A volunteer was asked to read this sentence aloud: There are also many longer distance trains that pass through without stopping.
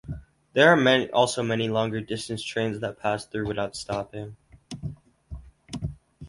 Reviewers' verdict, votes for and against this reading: rejected, 0, 2